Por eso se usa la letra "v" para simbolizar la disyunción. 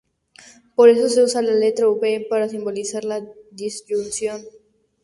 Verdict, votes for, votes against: accepted, 2, 0